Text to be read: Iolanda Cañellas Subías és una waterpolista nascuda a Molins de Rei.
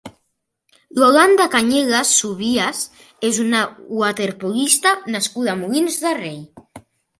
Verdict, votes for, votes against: rejected, 2, 3